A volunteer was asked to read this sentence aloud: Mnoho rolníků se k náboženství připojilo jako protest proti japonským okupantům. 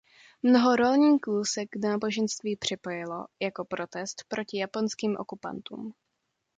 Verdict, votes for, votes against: accepted, 2, 0